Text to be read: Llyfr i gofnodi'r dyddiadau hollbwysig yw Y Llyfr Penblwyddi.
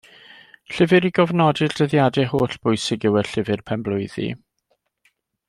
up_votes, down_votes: 2, 0